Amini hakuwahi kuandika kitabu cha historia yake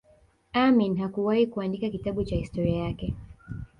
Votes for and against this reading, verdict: 1, 2, rejected